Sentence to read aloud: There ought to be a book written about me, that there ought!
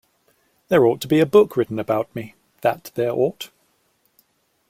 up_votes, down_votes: 2, 0